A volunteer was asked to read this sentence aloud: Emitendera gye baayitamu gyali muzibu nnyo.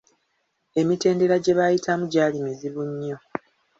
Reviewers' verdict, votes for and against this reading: accepted, 3, 0